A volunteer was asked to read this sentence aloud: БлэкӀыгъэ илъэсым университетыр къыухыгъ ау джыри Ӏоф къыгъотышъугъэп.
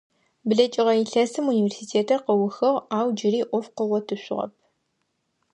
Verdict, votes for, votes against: accepted, 2, 0